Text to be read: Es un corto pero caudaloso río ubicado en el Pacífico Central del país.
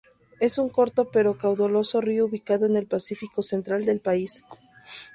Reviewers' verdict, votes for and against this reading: rejected, 0, 2